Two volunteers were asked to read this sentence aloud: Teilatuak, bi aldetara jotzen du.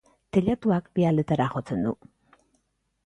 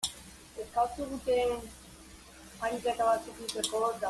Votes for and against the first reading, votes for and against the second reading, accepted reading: 2, 0, 0, 2, first